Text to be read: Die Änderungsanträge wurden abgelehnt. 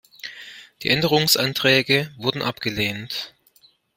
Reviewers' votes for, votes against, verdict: 2, 0, accepted